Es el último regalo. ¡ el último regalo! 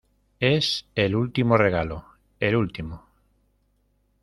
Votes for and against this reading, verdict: 0, 2, rejected